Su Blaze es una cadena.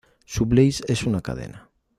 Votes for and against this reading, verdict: 2, 0, accepted